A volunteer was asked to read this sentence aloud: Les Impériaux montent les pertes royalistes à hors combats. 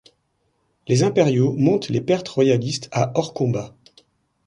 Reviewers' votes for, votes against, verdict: 1, 2, rejected